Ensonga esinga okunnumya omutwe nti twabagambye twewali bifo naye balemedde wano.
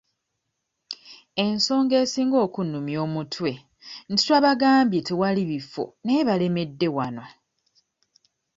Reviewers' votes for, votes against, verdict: 0, 2, rejected